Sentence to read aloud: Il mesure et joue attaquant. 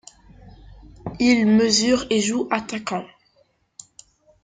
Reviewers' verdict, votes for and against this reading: accepted, 2, 0